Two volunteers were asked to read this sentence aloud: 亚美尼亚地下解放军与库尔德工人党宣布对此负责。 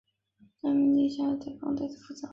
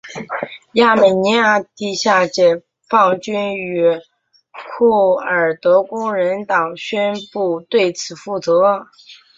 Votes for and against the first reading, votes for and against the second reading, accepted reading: 2, 5, 3, 0, second